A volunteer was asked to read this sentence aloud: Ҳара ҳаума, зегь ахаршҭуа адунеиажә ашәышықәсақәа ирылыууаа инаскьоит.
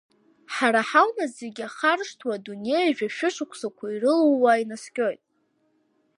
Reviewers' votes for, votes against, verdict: 0, 2, rejected